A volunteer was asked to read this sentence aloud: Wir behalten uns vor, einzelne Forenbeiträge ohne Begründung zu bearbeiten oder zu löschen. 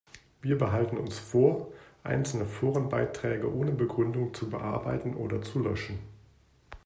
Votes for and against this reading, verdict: 2, 0, accepted